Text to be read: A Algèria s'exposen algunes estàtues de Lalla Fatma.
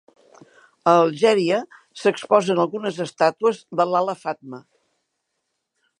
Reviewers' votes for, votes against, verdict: 3, 0, accepted